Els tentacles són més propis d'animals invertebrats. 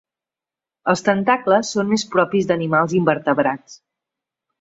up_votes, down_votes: 2, 0